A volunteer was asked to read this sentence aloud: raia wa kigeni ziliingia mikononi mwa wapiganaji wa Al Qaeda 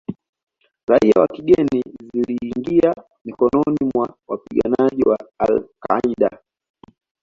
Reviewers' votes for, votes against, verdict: 2, 1, accepted